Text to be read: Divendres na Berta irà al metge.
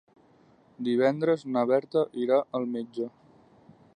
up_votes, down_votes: 4, 0